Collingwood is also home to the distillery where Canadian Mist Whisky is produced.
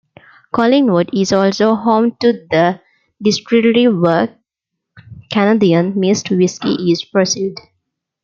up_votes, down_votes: 0, 2